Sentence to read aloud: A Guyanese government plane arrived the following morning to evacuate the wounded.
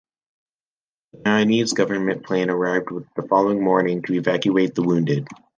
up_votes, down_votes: 0, 2